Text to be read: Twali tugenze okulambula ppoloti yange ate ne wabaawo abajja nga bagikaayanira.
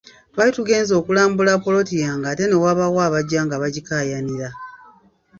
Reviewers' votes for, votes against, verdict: 0, 2, rejected